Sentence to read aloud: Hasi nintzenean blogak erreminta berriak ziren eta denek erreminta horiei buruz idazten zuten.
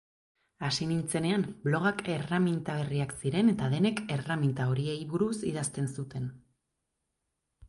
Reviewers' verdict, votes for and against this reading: accepted, 3, 1